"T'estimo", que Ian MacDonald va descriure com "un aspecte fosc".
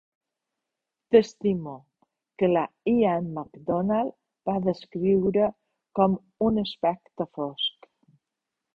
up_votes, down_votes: 0, 3